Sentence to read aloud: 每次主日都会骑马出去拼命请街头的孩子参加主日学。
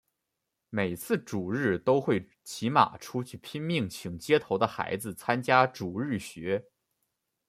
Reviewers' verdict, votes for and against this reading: rejected, 0, 2